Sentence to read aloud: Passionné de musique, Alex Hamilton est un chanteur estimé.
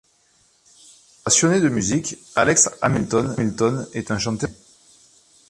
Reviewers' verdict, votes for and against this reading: rejected, 0, 2